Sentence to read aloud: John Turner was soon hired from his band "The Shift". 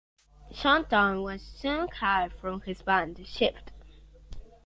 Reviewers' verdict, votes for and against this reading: rejected, 1, 2